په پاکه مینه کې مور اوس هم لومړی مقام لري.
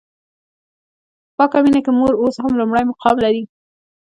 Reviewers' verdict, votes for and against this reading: rejected, 1, 2